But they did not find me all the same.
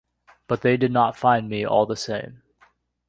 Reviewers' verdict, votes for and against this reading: accepted, 2, 0